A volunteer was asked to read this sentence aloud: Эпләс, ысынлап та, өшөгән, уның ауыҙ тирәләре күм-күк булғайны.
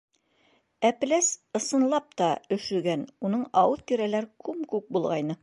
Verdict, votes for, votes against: accepted, 2, 0